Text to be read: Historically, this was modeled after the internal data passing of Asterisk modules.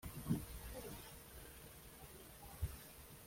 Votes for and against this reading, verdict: 0, 2, rejected